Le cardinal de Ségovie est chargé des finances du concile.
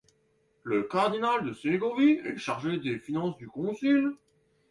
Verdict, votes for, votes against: accepted, 2, 1